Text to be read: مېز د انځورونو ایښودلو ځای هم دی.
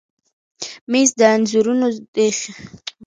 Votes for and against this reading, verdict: 0, 2, rejected